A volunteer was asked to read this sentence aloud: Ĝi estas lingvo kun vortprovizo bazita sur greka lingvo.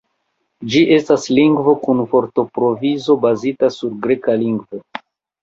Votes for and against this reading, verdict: 0, 2, rejected